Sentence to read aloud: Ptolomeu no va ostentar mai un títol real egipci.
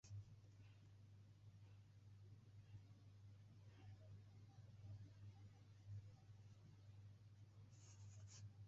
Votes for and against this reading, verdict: 0, 2, rejected